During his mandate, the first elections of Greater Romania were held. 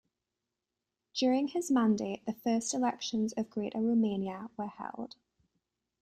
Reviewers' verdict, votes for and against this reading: accepted, 2, 0